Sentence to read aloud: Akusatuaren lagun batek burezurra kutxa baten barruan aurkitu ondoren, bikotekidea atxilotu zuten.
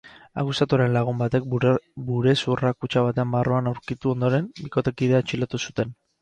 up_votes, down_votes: 0, 2